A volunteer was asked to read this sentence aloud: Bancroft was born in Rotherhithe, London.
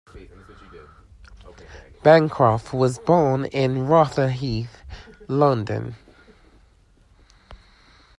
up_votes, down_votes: 0, 2